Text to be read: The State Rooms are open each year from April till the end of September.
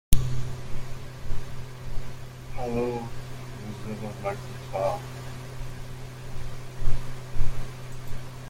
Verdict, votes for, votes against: rejected, 0, 2